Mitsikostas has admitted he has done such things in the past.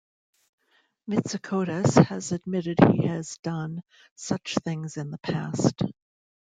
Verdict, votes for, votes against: rejected, 1, 2